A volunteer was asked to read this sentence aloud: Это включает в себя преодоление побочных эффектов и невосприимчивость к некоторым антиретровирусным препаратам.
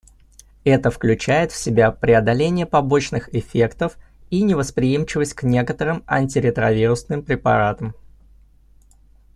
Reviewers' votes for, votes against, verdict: 2, 0, accepted